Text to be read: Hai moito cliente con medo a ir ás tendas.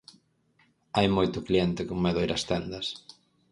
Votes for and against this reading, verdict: 4, 0, accepted